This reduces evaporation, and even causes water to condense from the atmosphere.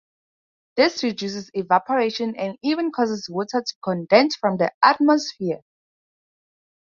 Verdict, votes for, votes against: accepted, 4, 0